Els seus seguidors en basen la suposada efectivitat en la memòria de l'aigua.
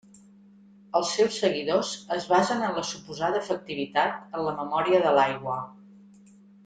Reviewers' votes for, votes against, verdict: 1, 2, rejected